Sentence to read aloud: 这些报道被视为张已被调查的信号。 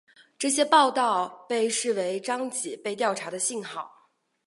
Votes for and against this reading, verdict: 4, 1, accepted